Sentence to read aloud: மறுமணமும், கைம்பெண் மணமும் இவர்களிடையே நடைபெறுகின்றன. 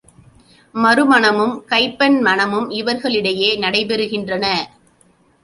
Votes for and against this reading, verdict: 2, 1, accepted